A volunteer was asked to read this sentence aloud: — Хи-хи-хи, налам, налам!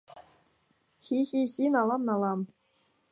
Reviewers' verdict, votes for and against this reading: accepted, 2, 0